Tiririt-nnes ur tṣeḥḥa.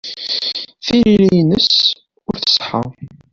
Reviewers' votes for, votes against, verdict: 2, 0, accepted